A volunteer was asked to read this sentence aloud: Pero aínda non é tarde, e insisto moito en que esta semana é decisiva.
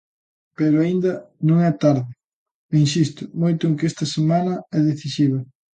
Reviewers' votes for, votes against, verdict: 2, 0, accepted